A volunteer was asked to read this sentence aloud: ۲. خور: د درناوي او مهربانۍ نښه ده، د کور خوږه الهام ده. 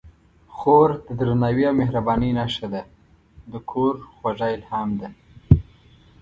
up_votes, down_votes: 0, 2